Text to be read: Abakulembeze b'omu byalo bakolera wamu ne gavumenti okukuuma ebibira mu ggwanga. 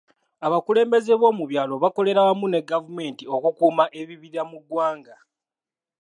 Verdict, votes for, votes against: accepted, 2, 1